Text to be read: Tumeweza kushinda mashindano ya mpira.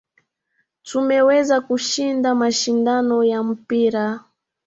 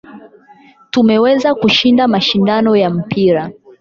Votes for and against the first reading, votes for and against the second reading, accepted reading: 2, 0, 4, 8, first